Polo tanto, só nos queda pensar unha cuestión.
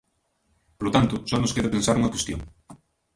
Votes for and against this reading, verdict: 0, 2, rejected